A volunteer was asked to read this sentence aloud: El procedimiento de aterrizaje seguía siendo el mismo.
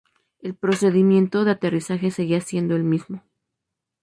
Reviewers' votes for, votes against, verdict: 0, 2, rejected